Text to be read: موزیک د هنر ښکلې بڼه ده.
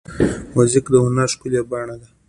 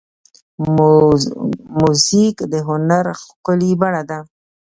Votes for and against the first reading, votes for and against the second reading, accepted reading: 2, 0, 1, 2, first